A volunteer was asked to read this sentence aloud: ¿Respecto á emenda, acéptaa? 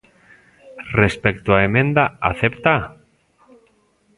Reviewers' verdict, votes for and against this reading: rejected, 1, 2